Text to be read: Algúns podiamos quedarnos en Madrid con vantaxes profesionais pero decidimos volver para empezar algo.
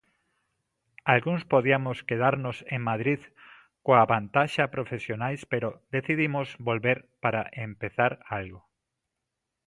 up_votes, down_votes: 0, 3